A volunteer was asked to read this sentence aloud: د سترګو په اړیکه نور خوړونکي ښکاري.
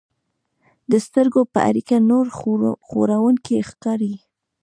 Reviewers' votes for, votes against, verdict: 2, 1, accepted